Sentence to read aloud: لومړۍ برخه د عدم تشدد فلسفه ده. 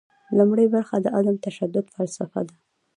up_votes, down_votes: 2, 0